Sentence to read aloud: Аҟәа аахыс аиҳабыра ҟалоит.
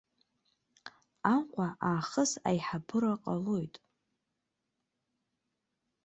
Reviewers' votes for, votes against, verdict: 2, 0, accepted